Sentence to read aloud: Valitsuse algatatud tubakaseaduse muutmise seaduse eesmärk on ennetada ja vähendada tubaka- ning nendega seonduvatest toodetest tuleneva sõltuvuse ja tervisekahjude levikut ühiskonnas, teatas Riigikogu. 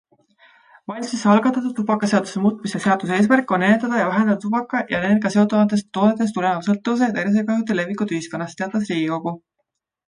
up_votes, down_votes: 2, 1